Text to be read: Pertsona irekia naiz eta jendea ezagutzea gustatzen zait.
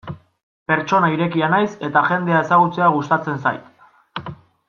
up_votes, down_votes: 1, 2